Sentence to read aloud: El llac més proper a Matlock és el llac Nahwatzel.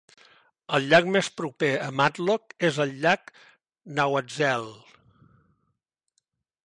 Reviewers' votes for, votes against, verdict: 2, 0, accepted